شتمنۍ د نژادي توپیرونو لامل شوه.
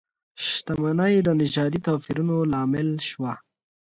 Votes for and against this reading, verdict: 2, 0, accepted